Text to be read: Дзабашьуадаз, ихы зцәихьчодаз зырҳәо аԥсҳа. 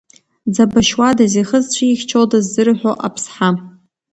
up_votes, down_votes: 2, 0